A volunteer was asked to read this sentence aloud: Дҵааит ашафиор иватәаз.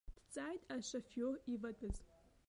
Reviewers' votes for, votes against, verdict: 2, 0, accepted